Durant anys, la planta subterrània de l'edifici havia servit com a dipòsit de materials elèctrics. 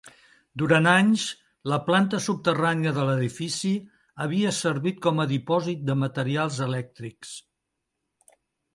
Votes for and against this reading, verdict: 2, 0, accepted